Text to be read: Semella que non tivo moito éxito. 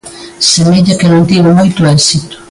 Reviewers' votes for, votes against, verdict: 2, 0, accepted